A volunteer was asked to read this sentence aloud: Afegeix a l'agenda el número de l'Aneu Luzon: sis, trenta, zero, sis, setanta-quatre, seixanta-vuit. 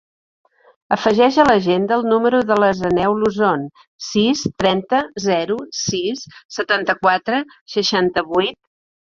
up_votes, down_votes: 0, 2